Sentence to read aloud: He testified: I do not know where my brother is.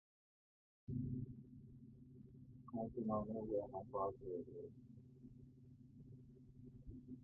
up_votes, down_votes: 1, 2